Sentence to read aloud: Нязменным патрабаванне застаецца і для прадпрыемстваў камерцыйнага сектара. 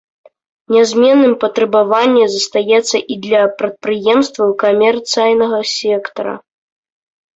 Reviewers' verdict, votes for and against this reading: accepted, 2, 1